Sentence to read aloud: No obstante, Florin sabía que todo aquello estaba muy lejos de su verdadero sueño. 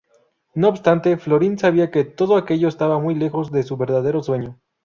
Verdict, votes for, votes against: rejected, 0, 2